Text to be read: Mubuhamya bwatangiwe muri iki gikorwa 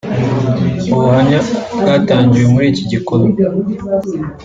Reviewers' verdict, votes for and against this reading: accepted, 2, 1